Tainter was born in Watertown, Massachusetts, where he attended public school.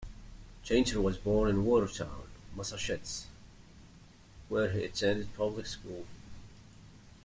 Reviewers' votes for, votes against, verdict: 1, 2, rejected